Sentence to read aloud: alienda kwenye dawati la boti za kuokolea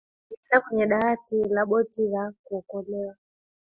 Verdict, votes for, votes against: rejected, 1, 2